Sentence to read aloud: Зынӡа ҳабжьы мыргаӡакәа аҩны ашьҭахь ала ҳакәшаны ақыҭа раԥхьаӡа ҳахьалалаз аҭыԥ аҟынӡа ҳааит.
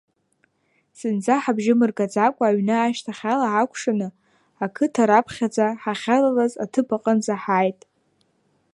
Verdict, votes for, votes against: rejected, 0, 2